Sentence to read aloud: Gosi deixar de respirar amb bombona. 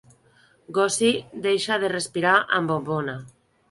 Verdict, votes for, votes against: accepted, 2, 0